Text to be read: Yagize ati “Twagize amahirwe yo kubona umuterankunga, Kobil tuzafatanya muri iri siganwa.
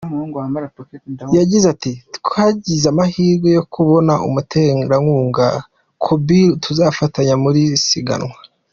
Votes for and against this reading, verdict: 2, 1, accepted